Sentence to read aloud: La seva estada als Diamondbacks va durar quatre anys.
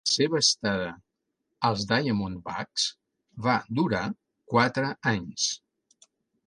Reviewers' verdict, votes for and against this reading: rejected, 1, 2